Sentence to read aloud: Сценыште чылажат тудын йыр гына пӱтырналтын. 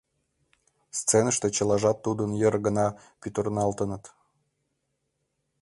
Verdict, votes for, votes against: rejected, 0, 2